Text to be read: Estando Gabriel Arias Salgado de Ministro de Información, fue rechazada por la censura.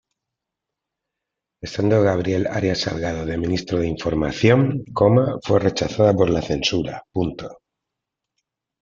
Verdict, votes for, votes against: rejected, 0, 2